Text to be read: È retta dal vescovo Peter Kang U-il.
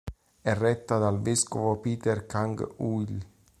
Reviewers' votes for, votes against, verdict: 2, 0, accepted